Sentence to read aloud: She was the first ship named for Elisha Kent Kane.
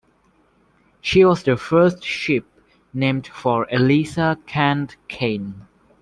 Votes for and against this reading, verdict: 0, 2, rejected